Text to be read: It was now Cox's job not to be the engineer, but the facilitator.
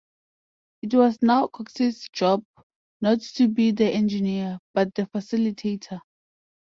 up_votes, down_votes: 2, 0